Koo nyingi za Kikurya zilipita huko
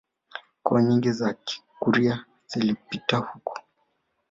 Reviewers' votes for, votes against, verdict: 1, 2, rejected